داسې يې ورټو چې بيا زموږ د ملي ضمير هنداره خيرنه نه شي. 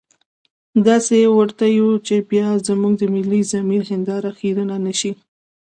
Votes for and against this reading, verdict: 2, 0, accepted